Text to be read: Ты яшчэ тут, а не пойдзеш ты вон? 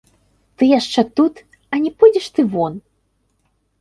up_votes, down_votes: 0, 2